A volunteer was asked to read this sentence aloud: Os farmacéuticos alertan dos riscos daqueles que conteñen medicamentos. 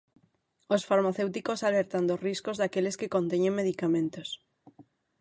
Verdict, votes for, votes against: accepted, 6, 3